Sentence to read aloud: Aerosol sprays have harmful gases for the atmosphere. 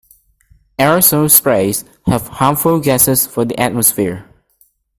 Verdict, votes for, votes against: accepted, 2, 0